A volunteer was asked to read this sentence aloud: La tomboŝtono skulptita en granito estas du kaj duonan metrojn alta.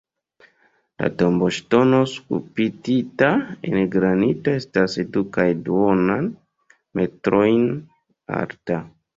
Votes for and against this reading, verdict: 1, 2, rejected